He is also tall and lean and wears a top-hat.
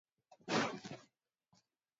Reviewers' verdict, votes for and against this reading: rejected, 0, 2